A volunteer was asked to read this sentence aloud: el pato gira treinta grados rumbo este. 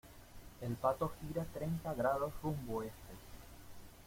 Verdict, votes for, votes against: accepted, 2, 0